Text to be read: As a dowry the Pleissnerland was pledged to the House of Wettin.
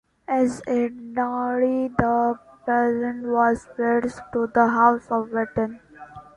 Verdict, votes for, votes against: rejected, 0, 2